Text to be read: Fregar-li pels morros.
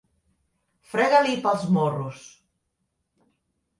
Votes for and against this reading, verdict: 1, 2, rejected